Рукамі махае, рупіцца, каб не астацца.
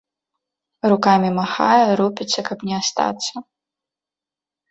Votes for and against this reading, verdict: 2, 0, accepted